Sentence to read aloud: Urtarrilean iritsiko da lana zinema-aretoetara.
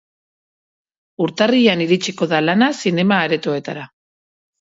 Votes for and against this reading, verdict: 6, 0, accepted